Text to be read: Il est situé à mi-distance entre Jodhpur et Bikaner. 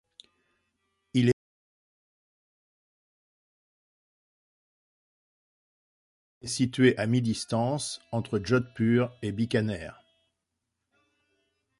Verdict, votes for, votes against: rejected, 0, 2